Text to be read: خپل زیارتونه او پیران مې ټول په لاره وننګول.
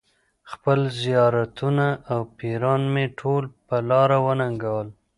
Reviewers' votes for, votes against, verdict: 2, 0, accepted